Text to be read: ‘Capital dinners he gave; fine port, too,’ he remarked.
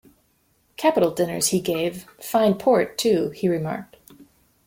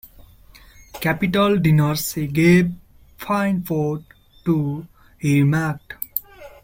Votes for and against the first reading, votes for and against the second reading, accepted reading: 2, 0, 1, 2, first